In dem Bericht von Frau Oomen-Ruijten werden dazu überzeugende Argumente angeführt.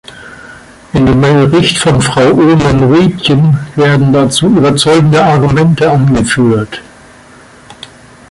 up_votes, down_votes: 2, 1